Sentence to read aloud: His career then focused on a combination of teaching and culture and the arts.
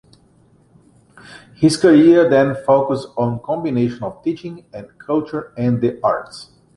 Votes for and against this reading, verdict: 1, 2, rejected